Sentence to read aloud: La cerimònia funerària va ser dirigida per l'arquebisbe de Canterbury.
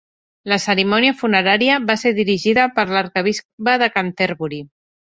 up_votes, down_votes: 3, 1